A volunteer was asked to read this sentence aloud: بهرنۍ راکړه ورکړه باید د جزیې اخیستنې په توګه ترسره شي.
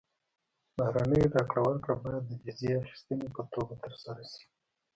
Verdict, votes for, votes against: rejected, 1, 2